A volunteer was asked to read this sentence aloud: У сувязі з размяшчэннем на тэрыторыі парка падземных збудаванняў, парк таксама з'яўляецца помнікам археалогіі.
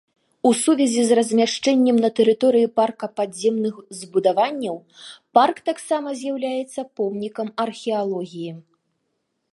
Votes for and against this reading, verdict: 2, 0, accepted